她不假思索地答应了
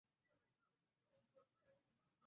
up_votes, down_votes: 0, 2